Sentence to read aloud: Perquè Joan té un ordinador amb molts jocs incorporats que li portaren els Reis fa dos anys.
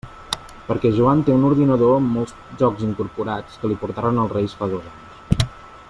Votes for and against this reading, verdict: 2, 1, accepted